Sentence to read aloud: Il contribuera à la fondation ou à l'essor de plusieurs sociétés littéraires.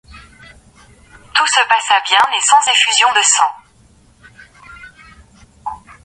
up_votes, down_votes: 1, 2